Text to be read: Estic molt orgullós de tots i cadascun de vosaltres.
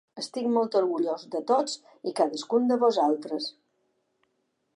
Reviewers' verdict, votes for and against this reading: accepted, 2, 0